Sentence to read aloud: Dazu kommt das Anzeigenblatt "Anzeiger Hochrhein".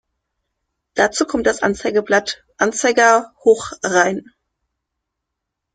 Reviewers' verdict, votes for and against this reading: accepted, 2, 0